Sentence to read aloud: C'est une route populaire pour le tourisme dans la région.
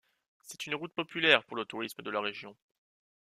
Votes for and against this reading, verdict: 2, 0, accepted